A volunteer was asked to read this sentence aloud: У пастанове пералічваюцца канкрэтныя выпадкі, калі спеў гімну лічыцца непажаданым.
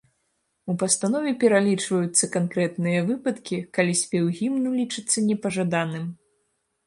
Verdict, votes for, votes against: accepted, 2, 0